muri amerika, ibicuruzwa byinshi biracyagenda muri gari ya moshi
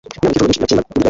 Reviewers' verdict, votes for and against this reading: rejected, 0, 2